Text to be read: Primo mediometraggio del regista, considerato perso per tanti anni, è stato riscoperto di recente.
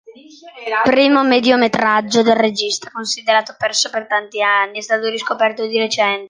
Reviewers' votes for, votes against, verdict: 0, 2, rejected